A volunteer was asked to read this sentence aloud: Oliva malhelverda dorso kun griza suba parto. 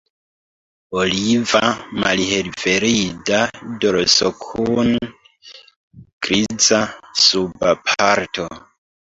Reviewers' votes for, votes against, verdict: 0, 2, rejected